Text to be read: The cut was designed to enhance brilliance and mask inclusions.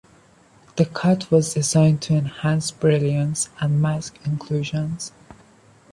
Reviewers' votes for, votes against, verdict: 2, 0, accepted